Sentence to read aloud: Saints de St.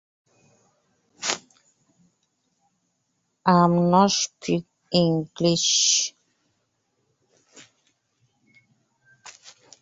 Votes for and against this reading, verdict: 0, 2, rejected